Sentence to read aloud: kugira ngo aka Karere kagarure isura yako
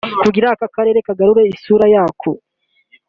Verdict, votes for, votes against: accepted, 2, 0